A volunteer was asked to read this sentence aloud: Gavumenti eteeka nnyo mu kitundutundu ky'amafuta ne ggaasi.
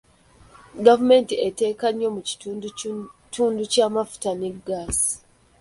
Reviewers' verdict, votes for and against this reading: accepted, 2, 1